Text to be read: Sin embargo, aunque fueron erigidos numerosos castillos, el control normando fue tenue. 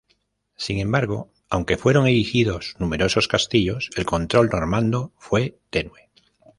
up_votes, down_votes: 2, 0